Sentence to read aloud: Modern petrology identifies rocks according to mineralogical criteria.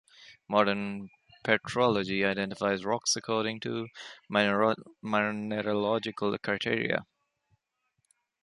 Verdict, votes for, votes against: rejected, 0, 2